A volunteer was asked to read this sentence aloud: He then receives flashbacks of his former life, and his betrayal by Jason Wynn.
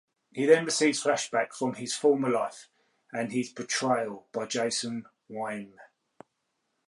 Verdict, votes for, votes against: accepted, 2, 0